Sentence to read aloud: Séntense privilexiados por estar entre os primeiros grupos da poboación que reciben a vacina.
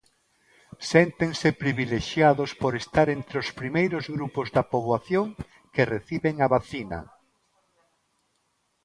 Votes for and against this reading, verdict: 2, 0, accepted